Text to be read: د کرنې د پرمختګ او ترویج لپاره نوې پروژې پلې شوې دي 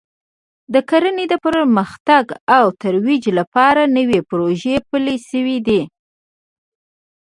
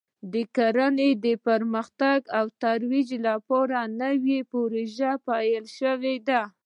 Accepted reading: first